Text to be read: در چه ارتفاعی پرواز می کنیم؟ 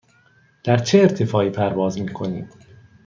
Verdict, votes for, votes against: accepted, 2, 0